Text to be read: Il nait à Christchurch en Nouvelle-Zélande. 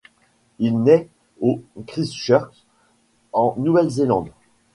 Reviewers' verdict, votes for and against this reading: rejected, 1, 2